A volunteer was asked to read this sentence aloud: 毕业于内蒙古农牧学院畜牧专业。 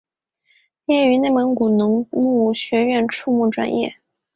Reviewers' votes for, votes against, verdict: 2, 0, accepted